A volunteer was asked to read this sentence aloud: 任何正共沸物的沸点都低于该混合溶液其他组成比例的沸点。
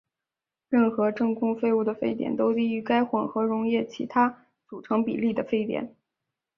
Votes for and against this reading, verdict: 3, 1, accepted